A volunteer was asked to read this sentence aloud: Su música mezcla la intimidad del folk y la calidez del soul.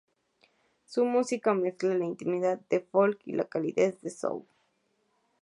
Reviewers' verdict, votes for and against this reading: rejected, 2, 2